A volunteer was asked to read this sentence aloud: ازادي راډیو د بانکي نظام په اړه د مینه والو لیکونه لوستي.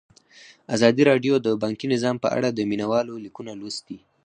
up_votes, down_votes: 4, 0